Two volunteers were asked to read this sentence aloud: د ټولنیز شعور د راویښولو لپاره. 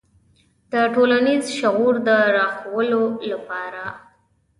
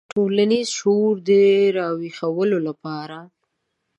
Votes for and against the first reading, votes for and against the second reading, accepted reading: 3, 2, 1, 2, first